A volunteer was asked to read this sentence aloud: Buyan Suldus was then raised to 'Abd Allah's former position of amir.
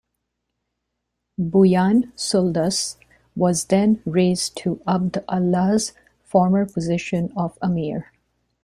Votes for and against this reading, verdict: 2, 0, accepted